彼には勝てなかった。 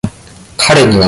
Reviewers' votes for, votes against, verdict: 0, 2, rejected